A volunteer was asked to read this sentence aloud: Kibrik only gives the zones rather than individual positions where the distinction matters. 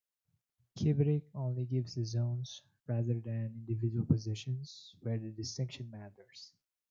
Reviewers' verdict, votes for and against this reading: accepted, 2, 0